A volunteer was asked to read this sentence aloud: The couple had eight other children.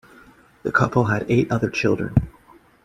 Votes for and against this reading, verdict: 2, 0, accepted